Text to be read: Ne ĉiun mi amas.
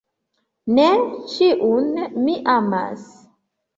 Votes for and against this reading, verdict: 2, 0, accepted